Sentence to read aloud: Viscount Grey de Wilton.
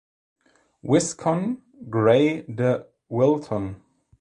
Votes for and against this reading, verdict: 0, 2, rejected